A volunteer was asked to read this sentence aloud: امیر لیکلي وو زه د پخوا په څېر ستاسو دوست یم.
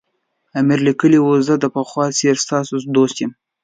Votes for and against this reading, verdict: 2, 0, accepted